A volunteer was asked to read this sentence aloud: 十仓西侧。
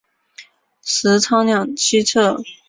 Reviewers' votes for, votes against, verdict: 0, 2, rejected